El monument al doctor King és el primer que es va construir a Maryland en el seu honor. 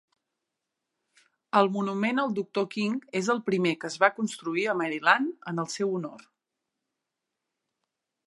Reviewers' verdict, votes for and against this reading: accepted, 3, 0